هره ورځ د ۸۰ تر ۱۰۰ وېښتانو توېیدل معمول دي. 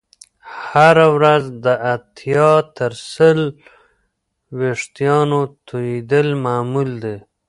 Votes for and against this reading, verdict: 0, 2, rejected